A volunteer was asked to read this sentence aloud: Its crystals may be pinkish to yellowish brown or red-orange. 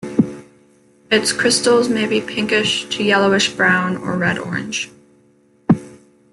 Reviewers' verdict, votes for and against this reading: accepted, 2, 0